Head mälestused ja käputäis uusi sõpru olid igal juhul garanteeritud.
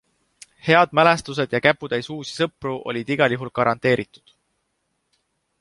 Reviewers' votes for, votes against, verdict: 2, 0, accepted